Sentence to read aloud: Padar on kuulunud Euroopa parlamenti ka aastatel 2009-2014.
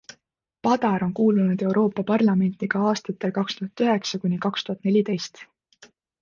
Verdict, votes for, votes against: rejected, 0, 2